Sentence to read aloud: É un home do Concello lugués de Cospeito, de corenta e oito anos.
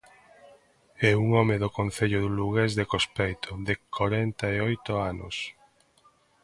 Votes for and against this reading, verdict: 2, 0, accepted